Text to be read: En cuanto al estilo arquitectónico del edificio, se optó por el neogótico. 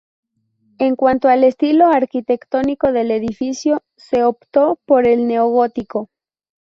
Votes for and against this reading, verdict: 0, 2, rejected